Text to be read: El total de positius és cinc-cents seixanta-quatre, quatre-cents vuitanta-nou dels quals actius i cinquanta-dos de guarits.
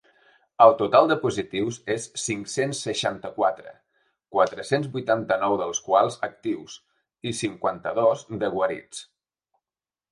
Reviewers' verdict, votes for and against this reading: accepted, 3, 0